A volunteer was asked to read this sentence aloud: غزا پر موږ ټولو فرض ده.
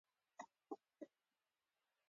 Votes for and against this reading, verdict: 1, 2, rejected